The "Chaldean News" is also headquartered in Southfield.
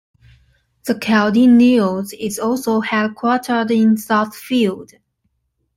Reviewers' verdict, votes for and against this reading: accepted, 2, 1